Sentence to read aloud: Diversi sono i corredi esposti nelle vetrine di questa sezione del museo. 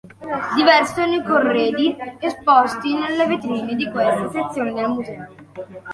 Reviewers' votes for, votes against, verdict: 0, 2, rejected